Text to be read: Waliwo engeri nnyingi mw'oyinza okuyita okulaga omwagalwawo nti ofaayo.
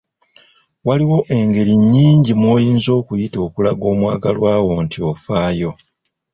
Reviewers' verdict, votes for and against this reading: accepted, 2, 1